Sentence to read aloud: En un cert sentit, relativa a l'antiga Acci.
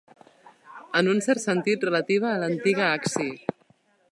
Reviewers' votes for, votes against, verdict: 0, 2, rejected